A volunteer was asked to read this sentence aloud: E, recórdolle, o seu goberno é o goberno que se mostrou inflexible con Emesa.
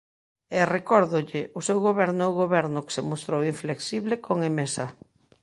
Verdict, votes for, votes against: accepted, 2, 0